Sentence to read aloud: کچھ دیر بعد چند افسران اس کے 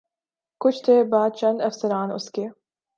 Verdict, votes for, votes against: accepted, 2, 0